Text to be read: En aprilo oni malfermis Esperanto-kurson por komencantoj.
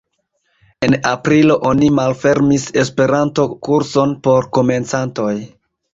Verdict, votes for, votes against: accepted, 2, 0